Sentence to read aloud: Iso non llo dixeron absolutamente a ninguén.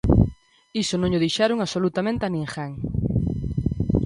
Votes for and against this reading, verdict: 2, 0, accepted